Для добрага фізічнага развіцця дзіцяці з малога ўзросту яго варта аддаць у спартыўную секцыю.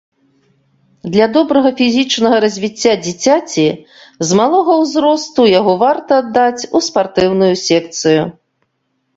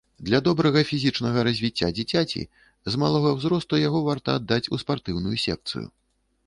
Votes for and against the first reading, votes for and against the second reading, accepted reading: 3, 0, 1, 2, first